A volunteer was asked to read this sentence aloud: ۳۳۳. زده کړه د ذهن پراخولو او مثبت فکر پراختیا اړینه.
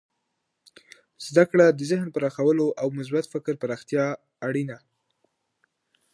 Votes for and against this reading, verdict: 0, 2, rejected